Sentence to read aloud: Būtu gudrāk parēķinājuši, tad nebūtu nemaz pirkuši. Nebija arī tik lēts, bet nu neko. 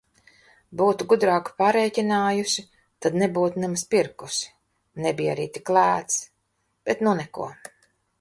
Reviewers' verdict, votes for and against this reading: rejected, 0, 2